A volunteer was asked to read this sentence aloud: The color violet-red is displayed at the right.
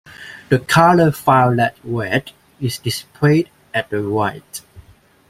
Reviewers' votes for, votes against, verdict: 2, 0, accepted